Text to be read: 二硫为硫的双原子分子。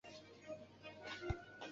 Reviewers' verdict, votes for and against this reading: accepted, 4, 1